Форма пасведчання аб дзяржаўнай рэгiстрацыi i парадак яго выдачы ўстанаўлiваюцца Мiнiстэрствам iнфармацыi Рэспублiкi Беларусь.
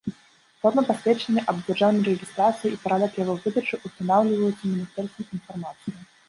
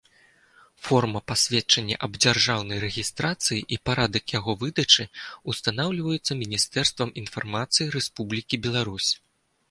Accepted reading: second